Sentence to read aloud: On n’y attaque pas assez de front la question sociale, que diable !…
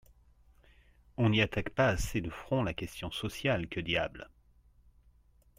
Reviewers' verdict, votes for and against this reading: accepted, 2, 0